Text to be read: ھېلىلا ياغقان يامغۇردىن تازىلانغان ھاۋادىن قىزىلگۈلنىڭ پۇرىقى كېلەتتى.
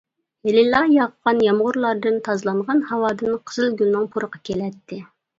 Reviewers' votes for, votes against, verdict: 1, 2, rejected